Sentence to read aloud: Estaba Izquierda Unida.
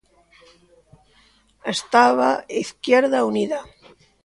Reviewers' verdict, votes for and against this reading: rejected, 1, 2